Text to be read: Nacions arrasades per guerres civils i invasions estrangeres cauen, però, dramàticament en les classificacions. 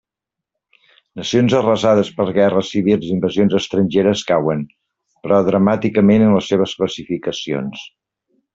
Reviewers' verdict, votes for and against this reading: rejected, 1, 2